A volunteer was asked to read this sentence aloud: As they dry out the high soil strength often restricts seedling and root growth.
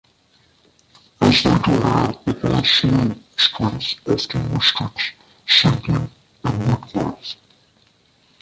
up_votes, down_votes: 0, 2